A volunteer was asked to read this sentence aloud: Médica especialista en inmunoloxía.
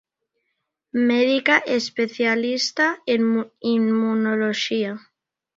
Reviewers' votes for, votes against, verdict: 2, 1, accepted